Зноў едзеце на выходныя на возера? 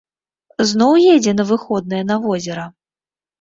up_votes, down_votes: 1, 2